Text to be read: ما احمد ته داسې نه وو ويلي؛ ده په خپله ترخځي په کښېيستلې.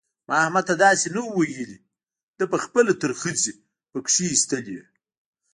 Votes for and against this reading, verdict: 2, 0, accepted